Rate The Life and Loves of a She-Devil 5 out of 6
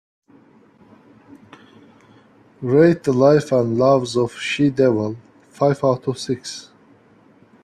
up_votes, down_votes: 0, 2